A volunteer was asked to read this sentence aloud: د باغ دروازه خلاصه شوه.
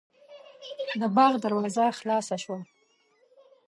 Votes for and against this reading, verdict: 1, 2, rejected